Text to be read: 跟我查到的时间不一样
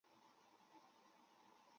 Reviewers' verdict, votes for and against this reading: rejected, 0, 7